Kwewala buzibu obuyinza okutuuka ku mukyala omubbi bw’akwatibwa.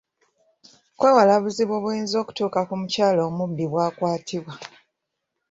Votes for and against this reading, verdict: 1, 2, rejected